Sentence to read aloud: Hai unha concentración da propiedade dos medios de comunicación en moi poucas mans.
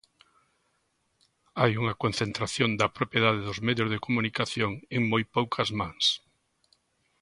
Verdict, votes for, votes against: accepted, 2, 0